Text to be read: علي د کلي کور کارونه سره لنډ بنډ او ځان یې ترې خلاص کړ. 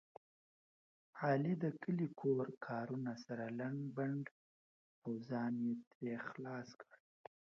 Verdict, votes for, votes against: rejected, 0, 2